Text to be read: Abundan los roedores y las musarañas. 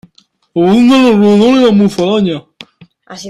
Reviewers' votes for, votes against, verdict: 0, 2, rejected